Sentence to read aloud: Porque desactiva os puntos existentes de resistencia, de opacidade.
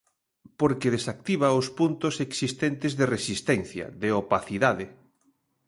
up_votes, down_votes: 2, 0